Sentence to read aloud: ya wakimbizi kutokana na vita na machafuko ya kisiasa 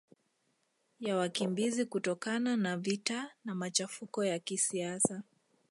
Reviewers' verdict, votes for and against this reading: rejected, 1, 2